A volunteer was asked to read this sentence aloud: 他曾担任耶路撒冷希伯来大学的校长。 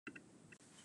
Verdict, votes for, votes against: rejected, 0, 2